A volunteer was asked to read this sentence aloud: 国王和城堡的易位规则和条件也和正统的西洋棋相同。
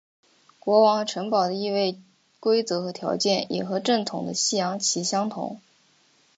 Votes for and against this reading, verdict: 2, 0, accepted